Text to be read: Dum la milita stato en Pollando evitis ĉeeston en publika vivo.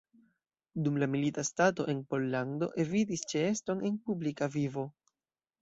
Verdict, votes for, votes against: accepted, 2, 0